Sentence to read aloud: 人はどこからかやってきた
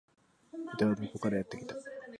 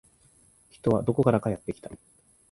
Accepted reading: second